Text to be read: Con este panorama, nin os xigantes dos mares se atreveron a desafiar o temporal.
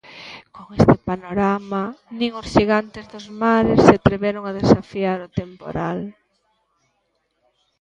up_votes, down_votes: 0, 2